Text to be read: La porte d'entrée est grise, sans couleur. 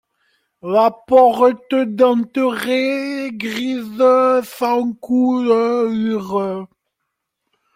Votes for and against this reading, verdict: 1, 2, rejected